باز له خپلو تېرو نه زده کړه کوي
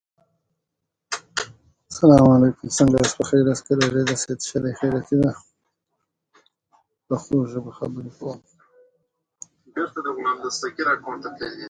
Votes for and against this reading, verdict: 0, 2, rejected